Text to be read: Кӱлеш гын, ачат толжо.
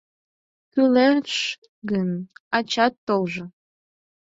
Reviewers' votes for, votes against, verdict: 2, 4, rejected